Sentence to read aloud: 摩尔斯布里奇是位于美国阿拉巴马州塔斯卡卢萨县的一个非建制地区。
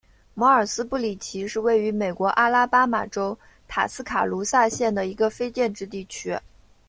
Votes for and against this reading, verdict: 2, 0, accepted